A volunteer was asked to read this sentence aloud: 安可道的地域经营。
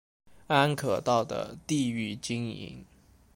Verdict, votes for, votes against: accepted, 2, 0